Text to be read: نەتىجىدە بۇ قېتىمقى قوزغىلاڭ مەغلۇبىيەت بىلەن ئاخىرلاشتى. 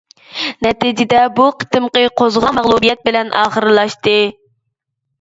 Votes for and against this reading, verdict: 0, 2, rejected